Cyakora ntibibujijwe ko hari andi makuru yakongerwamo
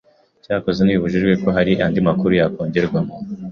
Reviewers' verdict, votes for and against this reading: rejected, 1, 2